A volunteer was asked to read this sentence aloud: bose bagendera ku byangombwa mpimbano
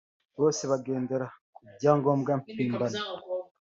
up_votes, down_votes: 3, 0